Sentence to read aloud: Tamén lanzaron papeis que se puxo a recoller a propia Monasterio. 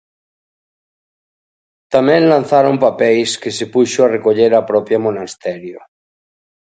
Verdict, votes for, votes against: accepted, 2, 0